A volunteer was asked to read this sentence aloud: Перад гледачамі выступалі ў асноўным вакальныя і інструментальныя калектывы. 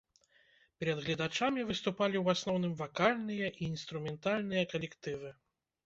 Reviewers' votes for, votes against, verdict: 2, 0, accepted